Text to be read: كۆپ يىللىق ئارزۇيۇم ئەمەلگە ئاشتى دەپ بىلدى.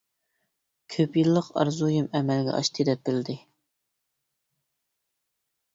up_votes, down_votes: 2, 0